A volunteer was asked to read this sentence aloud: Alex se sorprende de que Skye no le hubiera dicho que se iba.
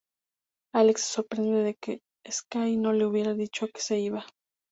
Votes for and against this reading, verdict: 2, 0, accepted